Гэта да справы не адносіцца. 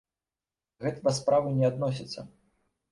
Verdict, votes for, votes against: rejected, 1, 2